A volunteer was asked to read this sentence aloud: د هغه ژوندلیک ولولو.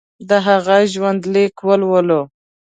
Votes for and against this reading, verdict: 2, 0, accepted